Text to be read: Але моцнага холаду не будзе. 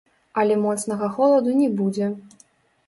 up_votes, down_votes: 0, 2